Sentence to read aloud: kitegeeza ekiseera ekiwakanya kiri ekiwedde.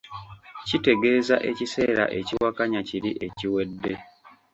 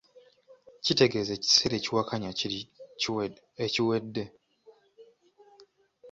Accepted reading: first